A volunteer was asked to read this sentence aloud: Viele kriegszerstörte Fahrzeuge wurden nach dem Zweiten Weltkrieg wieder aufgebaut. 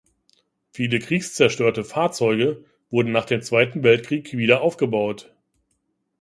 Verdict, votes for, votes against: rejected, 0, 2